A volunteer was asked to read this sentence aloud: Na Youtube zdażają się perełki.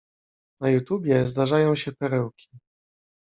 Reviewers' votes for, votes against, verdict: 0, 2, rejected